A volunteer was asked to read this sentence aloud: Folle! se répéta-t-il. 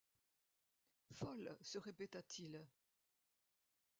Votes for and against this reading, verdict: 2, 0, accepted